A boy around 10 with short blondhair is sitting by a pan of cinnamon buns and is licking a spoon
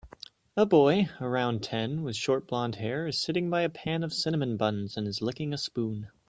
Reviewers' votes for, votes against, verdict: 0, 2, rejected